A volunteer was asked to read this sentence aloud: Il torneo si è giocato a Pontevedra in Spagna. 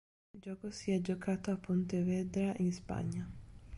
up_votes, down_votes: 0, 2